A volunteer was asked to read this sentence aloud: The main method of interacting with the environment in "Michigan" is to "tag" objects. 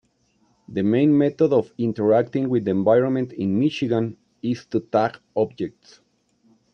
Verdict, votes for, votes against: accepted, 2, 0